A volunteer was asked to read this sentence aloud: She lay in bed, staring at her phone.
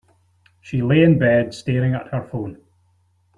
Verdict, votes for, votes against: accepted, 2, 0